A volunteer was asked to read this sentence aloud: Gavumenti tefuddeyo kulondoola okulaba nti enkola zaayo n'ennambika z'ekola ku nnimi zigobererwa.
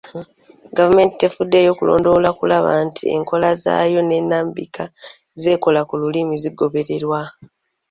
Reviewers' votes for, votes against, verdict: 0, 2, rejected